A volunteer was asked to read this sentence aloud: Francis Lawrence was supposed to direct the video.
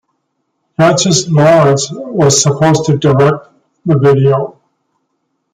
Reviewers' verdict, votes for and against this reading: rejected, 1, 2